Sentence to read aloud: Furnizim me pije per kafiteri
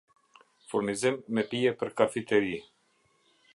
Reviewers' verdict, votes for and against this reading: accepted, 2, 0